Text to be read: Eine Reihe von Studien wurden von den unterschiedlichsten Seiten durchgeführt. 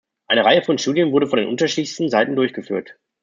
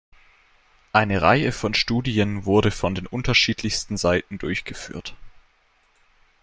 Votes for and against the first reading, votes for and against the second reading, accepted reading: 2, 0, 0, 2, first